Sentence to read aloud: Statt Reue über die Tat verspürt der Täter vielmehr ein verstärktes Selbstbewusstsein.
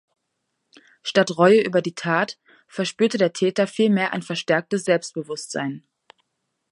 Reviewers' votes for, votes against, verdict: 2, 0, accepted